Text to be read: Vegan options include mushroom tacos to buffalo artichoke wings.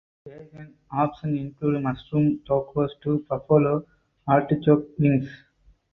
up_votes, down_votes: 0, 4